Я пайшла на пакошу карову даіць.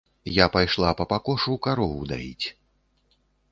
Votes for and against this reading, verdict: 1, 3, rejected